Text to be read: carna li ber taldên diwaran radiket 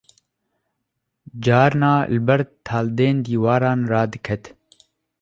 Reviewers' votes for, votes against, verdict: 2, 0, accepted